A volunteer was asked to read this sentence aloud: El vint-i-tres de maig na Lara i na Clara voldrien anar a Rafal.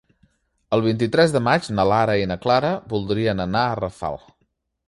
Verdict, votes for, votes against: accepted, 3, 0